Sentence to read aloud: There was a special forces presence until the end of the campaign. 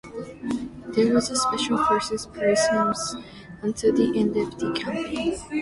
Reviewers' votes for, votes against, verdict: 2, 0, accepted